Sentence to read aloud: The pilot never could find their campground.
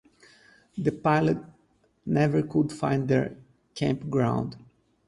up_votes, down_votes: 4, 0